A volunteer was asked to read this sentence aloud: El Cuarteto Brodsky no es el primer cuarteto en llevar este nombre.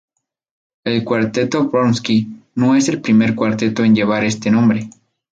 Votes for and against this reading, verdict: 2, 2, rejected